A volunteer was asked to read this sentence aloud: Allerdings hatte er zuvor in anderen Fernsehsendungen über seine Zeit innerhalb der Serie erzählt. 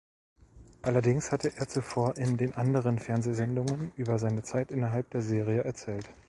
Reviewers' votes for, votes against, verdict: 0, 2, rejected